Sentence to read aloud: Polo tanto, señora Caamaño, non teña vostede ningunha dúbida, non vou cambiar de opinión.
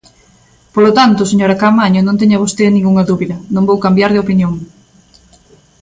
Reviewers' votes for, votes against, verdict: 2, 0, accepted